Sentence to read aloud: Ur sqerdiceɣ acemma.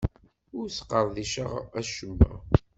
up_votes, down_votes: 2, 0